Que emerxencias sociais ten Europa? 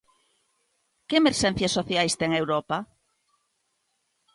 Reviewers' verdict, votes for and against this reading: accepted, 2, 0